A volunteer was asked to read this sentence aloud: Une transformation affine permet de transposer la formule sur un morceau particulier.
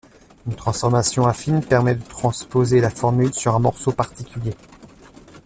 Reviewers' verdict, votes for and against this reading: accepted, 2, 1